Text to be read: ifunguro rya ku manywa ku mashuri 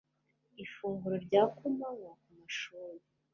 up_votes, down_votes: 2, 0